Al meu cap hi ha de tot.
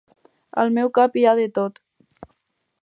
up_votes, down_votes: 4, 0